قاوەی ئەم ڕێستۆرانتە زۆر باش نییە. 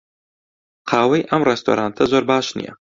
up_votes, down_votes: 2, 0